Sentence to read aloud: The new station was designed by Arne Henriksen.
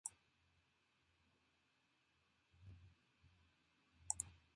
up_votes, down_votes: 0, 2